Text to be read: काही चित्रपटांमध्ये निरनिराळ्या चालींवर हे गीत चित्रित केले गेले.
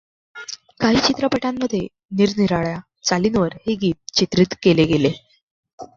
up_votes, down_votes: 2, 0